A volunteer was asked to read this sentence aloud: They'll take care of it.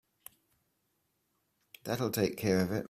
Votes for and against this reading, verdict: 0, 2, rejected